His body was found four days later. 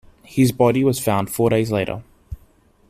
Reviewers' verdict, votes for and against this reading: accepted, 2, 0